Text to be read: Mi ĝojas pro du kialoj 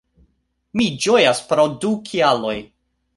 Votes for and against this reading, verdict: 3, 0, accepted